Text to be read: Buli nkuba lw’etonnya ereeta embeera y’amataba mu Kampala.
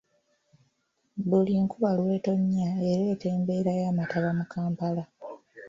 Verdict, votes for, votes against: rejected, 1, 2